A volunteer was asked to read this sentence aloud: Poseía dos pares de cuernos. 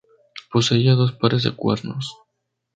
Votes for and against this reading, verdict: 2, 0, accepted